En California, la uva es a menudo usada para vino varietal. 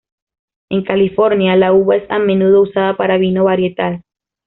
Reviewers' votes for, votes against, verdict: 2, 1, accepted